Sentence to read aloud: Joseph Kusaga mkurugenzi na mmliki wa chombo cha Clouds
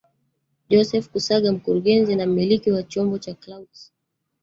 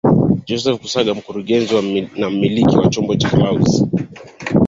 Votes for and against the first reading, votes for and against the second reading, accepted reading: 1, 2, 2, 1, second